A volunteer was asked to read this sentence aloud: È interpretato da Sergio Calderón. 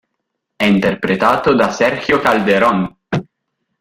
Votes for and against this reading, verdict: 2, 0, accepted